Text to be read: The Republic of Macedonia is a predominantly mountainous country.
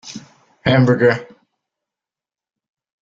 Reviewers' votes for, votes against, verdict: 0, 2, rejected